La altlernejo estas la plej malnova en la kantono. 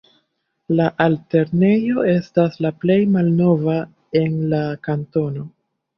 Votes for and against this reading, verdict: 0, 2, rejected